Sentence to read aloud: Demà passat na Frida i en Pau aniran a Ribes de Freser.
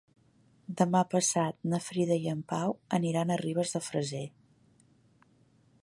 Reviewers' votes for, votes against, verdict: 3, 0, accepted